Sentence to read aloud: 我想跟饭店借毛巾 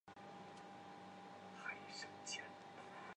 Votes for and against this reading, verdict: 1, 3, rejected